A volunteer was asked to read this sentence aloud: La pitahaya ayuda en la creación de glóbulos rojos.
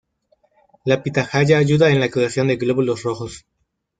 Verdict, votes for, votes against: rejected, 1, 2